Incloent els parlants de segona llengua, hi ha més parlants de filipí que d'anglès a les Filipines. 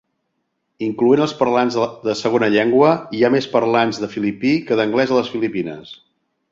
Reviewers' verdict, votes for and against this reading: rejected, 0, 2